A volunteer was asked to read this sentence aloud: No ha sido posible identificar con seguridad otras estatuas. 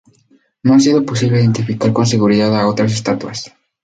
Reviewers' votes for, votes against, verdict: 2, 6, rejected